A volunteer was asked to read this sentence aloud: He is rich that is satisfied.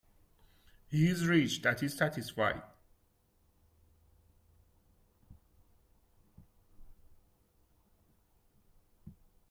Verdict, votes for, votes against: rejected, 1, 2